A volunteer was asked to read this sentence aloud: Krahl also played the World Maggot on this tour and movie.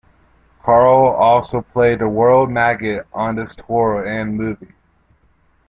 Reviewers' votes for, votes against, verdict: 2, 1, accepted